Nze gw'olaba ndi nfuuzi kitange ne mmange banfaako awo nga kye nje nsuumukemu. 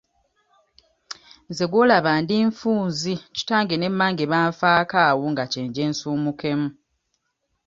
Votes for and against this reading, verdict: 1, 2, rejected